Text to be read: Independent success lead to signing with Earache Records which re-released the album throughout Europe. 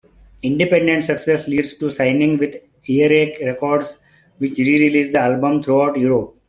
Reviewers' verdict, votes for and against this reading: accepted, 2, 1